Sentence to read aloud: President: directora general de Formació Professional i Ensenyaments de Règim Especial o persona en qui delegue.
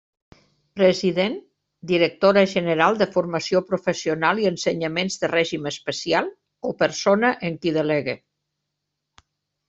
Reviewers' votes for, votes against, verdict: 2, 0, accepted